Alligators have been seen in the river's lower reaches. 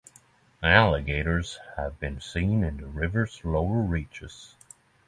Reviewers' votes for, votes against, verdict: 3, 0, accepted